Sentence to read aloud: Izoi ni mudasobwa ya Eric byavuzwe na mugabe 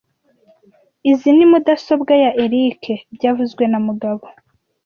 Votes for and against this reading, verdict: 1, 2, rejected